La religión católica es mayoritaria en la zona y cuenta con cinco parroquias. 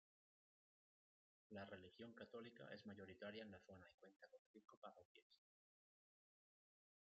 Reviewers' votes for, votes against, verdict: 0, 2, rejected